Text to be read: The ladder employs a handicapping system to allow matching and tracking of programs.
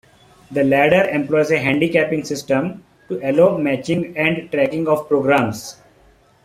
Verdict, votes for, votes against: accepted, 2, 1